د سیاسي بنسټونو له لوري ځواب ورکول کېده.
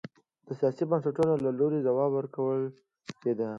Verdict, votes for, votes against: accepted, 2, 0